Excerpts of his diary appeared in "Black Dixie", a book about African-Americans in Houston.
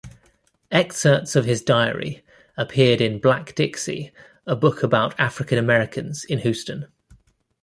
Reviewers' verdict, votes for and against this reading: accepted, 2, 0